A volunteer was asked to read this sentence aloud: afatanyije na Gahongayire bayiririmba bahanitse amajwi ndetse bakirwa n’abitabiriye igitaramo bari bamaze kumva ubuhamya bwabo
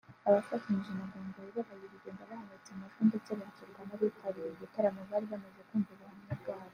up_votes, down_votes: 1, 2